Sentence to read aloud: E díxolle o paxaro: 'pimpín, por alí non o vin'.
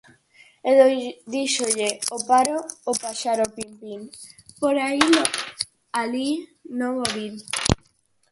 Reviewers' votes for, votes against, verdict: 0, 4, rejected